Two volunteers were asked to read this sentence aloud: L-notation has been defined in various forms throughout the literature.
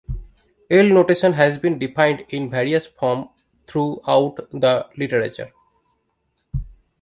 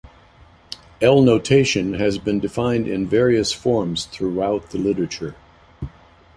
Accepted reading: second